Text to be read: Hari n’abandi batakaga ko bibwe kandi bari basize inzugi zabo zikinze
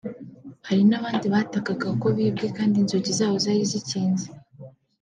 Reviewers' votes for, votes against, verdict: 0, 2, rejected